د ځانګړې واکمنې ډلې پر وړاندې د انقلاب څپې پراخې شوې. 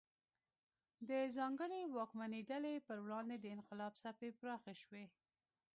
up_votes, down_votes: 2, 0